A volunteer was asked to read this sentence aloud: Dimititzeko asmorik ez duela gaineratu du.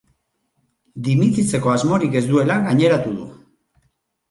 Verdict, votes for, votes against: rejected, 2, 2